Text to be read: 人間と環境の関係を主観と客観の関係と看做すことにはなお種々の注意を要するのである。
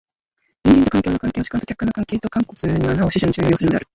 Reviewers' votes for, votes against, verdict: 0, 2, rejected